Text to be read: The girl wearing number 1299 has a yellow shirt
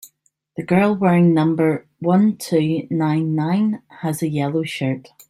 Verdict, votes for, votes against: rejected, 0, 2